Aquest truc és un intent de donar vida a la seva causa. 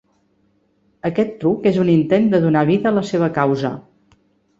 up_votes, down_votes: 3, 0